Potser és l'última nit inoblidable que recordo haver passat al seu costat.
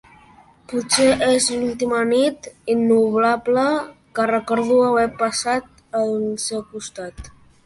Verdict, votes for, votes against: rejected, 0, 2